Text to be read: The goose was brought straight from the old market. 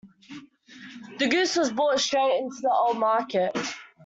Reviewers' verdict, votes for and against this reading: rejected, 0, 2